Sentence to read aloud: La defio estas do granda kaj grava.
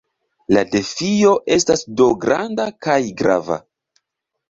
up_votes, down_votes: 2, 0